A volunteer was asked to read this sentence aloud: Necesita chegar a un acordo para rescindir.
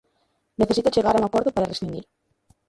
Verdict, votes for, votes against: rejected, 0, 2